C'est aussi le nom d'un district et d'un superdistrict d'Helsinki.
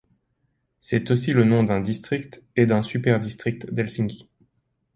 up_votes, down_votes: 2, 0